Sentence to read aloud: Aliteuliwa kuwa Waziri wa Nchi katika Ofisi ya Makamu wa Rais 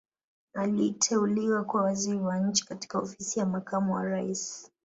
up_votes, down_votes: 2, 1